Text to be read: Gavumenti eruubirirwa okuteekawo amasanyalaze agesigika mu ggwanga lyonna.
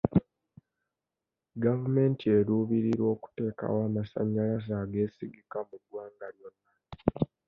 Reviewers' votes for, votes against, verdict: 1, 2, rejected